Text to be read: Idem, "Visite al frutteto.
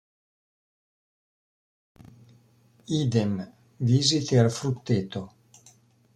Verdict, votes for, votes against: accepted, 2, 0